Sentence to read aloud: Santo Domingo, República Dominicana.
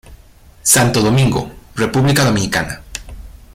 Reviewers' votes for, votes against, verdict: 2, 0, accepted